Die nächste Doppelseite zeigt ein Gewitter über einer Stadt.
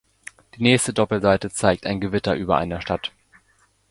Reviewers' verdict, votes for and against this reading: accepted, 2, 0